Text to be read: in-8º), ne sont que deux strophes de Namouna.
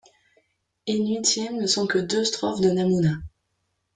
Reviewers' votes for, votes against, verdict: 0, 2, rejected